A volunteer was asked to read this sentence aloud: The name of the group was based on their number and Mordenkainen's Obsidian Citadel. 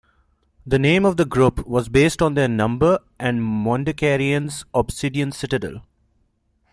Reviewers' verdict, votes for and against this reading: rejected, 1, 2